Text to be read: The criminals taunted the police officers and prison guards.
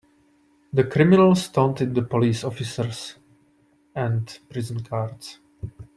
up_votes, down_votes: 2, 0